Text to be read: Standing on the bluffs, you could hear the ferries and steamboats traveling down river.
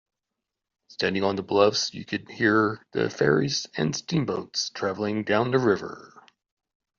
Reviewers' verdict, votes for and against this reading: rejected, 0, 2